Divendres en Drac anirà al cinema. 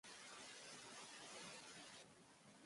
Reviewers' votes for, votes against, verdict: 1, 2, rejected